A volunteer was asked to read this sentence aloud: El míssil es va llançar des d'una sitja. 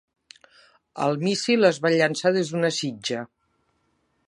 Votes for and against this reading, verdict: 2, 0, accepted